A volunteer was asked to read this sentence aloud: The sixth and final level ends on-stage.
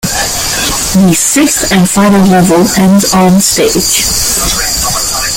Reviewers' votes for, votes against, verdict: 2, 1, accepted